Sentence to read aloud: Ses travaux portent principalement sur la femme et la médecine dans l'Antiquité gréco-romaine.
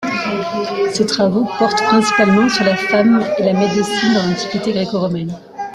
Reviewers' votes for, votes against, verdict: 1, 2, rejected